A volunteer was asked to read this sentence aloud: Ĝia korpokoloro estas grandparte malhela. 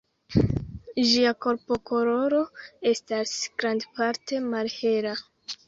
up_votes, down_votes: 2, 0